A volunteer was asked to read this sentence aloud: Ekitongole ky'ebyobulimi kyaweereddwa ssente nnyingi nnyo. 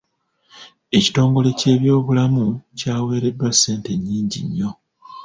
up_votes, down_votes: 1, 2